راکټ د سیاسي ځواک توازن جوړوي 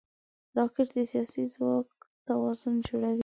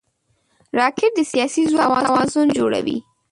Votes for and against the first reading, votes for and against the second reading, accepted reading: 2, 0, 3, 4, first